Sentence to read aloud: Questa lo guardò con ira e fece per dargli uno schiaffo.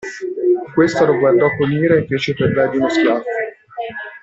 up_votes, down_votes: 0, 2